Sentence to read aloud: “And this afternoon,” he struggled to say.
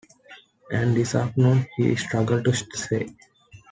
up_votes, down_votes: 0, 2